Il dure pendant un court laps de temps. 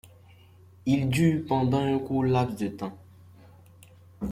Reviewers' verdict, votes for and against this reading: accepted, 2, 1